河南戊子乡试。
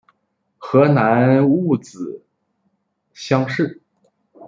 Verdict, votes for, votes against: rejected, 1, 2